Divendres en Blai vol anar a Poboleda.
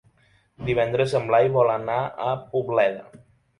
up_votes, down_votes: 2, 3